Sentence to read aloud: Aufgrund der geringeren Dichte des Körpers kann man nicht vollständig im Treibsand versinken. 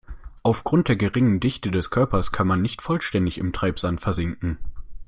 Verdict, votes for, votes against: accepted, 2, 0